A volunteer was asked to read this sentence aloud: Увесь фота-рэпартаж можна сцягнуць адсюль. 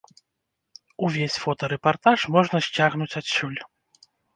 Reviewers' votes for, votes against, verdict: 1, 2, rejected